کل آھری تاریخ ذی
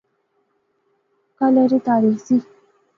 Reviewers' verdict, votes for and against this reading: accepted, 2, 0